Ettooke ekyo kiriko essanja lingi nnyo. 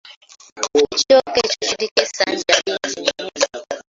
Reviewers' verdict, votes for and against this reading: rejected, 0, 2